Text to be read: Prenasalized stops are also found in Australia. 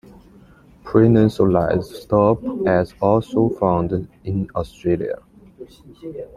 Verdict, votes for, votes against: rejected, 0, 2